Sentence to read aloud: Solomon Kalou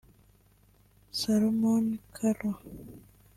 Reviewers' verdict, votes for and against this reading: rejected, 1, 2